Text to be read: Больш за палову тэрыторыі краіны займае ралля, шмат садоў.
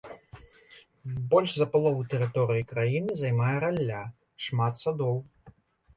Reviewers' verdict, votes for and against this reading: rejected, 1, 2